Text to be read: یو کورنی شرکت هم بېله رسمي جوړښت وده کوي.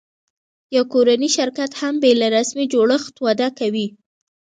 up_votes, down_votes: 2, 0